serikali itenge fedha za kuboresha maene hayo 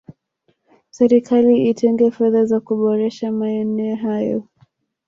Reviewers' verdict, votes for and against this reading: rejected, 1, 2